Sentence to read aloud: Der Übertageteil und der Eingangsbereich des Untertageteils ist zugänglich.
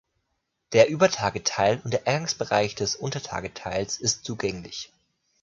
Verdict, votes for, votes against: accepted, 2, 0